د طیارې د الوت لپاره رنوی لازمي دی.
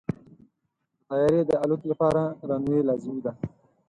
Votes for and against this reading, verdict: 4, 0, accepted